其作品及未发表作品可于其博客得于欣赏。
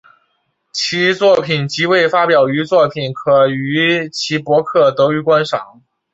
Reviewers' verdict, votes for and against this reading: accepted, 7, 1